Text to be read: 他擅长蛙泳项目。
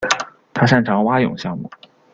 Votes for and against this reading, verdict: 0, 2, rejected